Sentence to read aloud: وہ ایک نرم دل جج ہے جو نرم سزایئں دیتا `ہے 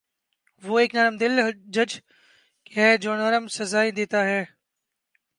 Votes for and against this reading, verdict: 1, 2, rejected